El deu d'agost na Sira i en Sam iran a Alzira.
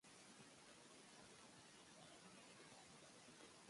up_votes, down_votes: 0, 2